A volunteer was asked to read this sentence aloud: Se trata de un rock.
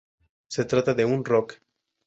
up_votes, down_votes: 2, 0